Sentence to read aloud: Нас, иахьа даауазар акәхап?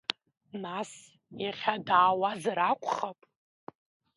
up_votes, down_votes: 2, 0